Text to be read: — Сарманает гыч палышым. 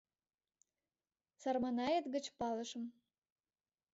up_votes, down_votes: 2, 0